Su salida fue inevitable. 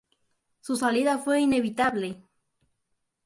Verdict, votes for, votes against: accepted, 2, 0